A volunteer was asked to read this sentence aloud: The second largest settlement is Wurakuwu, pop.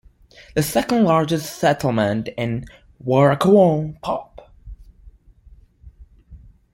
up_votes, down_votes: 1, 2